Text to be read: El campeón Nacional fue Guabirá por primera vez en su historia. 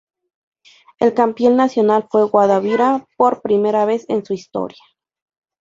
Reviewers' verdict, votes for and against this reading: rejected, 2, 2